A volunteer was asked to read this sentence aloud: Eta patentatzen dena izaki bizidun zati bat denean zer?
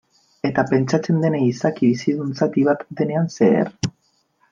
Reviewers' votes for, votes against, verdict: 0, 2, rejected